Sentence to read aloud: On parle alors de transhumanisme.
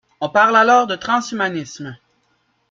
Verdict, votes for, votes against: rejected, 1, 2